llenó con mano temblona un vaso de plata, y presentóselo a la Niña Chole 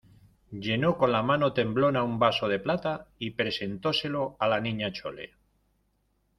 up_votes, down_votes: 1, 2